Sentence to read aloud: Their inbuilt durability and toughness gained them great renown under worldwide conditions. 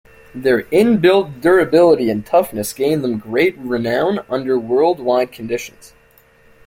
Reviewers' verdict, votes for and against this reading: accepted, 2, 0